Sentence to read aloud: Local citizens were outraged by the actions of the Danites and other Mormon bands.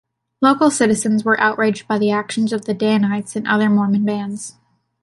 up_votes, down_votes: 2, 0